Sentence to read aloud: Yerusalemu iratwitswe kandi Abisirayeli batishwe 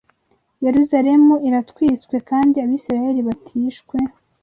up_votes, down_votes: 2, 0